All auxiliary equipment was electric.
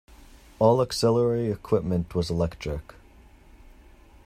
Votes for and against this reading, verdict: 2, 0, accepted